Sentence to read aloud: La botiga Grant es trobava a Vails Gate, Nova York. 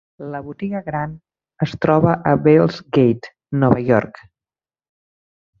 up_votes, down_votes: 0, 2